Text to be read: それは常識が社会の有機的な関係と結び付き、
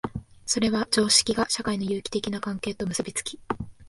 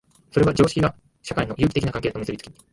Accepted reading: first